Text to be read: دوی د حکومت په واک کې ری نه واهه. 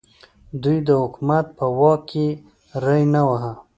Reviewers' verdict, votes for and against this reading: accepted, 2, 0